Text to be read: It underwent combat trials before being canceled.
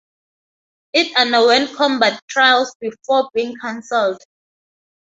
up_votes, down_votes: 2, 0